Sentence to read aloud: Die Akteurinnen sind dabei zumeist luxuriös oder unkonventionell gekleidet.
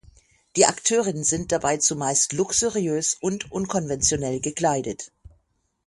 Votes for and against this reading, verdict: 0, 6, rejected